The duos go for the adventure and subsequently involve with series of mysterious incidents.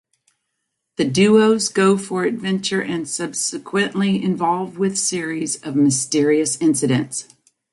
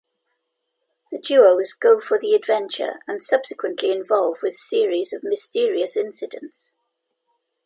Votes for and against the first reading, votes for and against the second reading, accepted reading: 0, 2, 2, 0, second